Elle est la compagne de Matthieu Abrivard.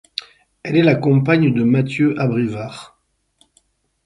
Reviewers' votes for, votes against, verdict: 4, 0, accepted